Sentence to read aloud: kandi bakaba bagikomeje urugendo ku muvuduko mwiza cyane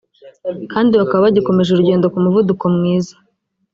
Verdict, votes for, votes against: rejected, 1, 2